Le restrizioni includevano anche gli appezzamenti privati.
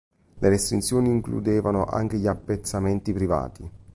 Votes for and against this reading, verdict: 1, 2, rejected